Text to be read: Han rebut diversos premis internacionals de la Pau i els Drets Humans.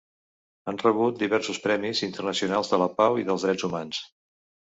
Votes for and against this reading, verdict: 1, 2, rejected